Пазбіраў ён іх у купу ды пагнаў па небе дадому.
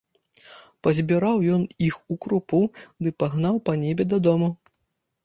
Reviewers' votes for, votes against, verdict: 0, 2, rejected